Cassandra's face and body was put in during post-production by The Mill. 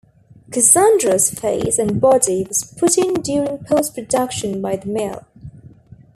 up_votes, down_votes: 1, 2